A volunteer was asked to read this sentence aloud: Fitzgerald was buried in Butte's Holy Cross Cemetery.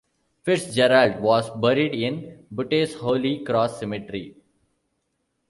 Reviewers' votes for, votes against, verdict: 1, 2, rejected